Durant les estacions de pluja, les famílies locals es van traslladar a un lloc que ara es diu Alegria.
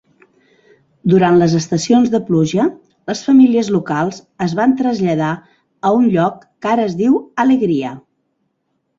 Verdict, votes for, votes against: accepted, 3, 0